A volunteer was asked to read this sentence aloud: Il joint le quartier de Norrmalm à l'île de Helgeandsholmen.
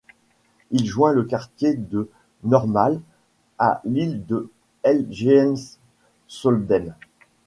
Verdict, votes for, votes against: rejected, 1, 2